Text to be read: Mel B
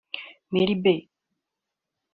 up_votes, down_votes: 0, 2